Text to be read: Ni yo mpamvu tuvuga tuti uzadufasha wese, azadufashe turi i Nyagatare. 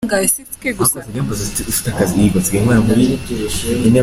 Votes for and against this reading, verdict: 0, 2, rejected